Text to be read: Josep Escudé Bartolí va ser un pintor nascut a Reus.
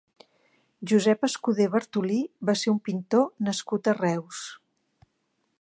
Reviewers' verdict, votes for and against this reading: accepted, 2, 0